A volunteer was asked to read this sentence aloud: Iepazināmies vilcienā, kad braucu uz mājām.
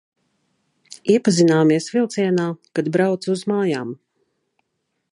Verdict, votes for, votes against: accepted, 2, 0